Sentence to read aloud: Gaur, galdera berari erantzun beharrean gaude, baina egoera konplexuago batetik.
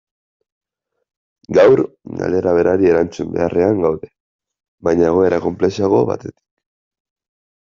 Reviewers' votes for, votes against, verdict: 2, 0, accepted